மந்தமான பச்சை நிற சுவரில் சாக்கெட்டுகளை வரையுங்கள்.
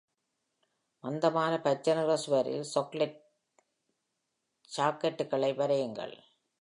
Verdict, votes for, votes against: rejected, 0, 2